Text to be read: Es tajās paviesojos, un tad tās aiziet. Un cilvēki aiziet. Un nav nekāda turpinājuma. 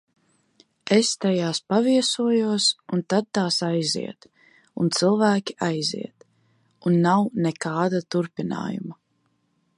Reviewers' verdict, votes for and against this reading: accepted, 2, 0